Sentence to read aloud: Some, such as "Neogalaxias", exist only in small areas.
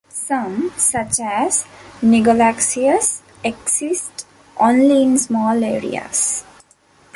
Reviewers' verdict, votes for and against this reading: rejected, 0, 2